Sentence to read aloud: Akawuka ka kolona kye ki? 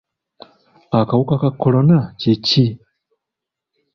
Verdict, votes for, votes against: accepted, 2, 0